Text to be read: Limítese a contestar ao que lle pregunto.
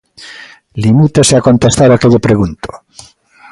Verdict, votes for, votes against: accepted, 2, 0